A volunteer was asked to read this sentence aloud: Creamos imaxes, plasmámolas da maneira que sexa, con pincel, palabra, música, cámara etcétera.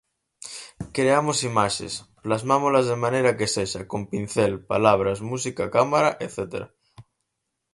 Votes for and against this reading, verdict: 0, 4, rejected